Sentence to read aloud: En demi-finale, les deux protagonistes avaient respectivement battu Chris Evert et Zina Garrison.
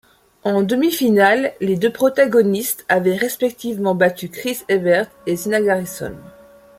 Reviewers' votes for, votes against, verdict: 2, 0, accepted